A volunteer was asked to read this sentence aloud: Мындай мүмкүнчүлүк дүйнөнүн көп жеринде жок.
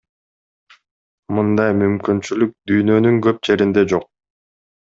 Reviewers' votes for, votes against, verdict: 2, 0, accepted